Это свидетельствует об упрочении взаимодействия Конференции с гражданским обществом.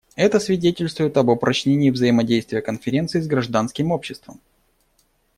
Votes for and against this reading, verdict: 1, 2, rejected